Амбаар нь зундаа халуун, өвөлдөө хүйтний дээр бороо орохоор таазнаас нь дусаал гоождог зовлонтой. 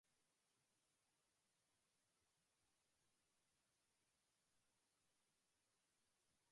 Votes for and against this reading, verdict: 2, 0, accepted